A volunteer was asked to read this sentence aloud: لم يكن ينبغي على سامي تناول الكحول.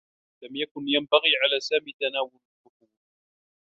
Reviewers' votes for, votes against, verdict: 0, 2, rejected